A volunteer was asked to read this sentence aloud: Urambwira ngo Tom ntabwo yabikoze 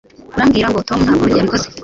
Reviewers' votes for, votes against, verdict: 2, 0, accepted